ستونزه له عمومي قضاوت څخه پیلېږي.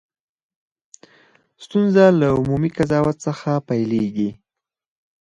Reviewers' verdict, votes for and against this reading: rejected, 2, 4